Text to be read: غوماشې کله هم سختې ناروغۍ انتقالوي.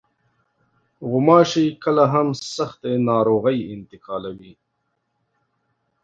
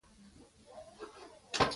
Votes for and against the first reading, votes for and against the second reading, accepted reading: 3, 0, 0, 2, first